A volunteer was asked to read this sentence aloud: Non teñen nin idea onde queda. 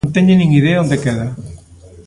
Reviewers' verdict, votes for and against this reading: accepted, 2, 0